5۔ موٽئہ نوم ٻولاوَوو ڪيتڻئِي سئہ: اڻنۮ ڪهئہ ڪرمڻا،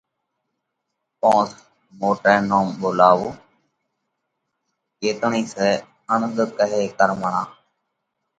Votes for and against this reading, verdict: 0, 2, rejected